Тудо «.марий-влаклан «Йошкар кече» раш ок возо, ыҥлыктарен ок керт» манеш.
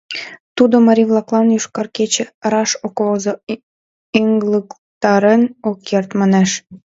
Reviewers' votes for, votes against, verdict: 2, 1, accepted